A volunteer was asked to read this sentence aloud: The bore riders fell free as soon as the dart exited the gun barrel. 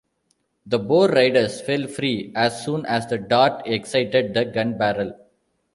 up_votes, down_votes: 1, 2